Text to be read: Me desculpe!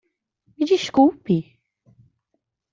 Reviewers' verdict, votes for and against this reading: accepted, 2, 0